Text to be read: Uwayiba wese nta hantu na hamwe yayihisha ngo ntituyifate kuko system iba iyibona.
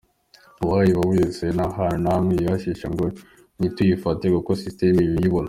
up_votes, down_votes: 2, 1